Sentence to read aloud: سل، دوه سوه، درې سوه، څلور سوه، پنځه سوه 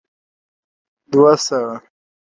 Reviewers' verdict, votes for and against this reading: rejected, 1, 2